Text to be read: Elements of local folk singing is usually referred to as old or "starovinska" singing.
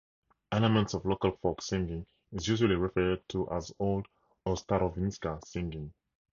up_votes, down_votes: 2, 0